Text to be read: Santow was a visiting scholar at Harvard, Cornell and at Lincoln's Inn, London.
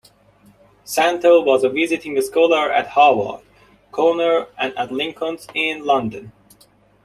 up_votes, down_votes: 2, 1